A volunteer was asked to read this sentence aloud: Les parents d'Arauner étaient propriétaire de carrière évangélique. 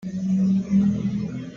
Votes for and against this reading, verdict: 1, 2, rejected